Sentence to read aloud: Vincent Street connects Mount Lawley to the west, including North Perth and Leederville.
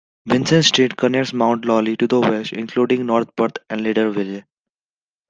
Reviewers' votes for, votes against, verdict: 2, 1, accepted